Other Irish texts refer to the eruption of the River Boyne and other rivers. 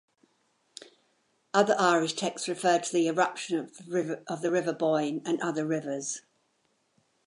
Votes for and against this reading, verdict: 1, 2, rejected